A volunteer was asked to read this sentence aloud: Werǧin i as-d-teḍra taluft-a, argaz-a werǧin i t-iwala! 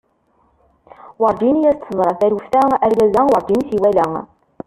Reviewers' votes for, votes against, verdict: 0, 2, rejected